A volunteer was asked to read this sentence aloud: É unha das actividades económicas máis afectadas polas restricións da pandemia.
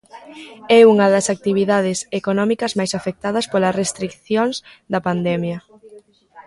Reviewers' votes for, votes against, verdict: 2, 1, accepted